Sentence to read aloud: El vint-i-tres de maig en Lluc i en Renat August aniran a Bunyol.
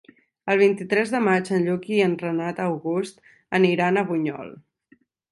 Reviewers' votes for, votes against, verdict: 2, 0, accepted